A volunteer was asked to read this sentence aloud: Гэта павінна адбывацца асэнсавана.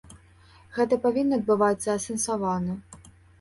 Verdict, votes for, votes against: accepted, 2, 0